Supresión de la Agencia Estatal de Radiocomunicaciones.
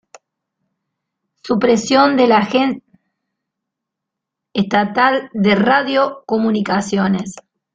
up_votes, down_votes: 0, 2